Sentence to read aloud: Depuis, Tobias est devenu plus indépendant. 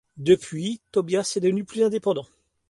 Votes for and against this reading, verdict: 2, 0, accepted